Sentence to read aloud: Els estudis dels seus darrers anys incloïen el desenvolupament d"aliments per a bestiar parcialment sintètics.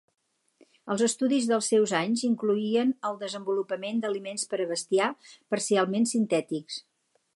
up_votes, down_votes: 0, 4